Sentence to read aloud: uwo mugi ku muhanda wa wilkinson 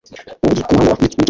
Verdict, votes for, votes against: rejected, 0, 2